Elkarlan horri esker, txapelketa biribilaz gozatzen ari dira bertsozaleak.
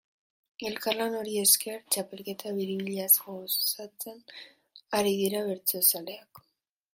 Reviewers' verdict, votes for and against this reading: rejected, 0, 2